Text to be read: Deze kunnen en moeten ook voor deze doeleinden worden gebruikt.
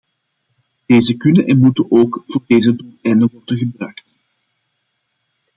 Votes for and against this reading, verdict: 0, 2, rejected